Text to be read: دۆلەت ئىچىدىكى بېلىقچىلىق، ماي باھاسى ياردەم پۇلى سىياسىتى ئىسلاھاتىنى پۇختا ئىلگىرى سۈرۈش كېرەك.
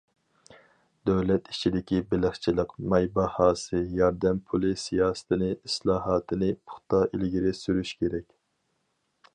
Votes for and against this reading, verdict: 2, 4, rejected